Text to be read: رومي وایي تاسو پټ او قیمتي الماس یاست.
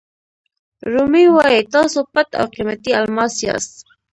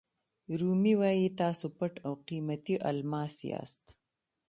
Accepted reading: second